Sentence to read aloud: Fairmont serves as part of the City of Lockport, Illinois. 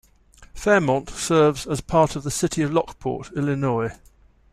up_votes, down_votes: 2, 0